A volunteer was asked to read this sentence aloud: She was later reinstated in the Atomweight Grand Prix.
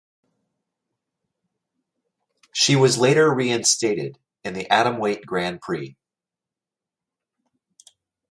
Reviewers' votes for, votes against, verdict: 2, 0, accepted